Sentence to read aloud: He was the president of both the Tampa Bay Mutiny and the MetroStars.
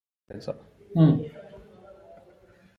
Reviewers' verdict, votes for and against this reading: rejected, 0, 2